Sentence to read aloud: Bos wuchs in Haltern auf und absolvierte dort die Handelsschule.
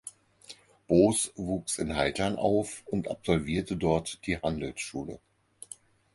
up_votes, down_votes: 4, 0